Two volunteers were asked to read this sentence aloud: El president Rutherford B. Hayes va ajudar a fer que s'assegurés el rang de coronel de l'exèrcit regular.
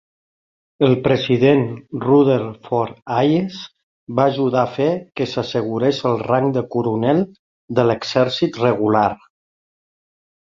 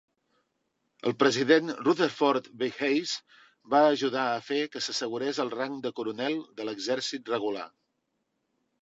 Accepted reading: second